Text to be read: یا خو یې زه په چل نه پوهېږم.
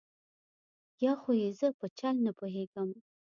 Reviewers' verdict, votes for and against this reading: accepted, 2, 0